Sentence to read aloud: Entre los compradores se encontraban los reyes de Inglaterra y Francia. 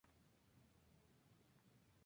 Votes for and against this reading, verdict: 2, 0, accepted